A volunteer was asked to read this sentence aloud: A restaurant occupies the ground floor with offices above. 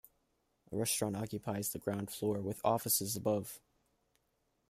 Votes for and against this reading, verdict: 2, 0, accepted